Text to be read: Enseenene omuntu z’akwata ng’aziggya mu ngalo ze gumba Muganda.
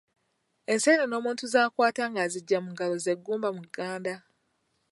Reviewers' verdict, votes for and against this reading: rejected, 1, 2